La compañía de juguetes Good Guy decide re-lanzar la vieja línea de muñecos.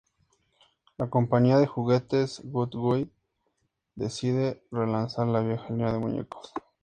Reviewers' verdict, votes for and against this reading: accepted, 2, 0